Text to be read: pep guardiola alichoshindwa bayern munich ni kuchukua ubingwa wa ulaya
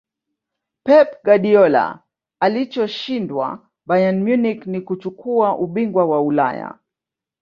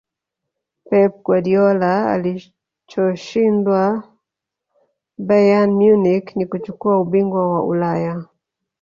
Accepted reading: first